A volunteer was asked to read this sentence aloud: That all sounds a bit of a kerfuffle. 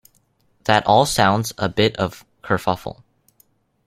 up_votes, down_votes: 1, 2